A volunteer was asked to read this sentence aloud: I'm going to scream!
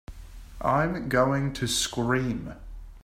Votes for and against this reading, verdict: 2, 0, accepted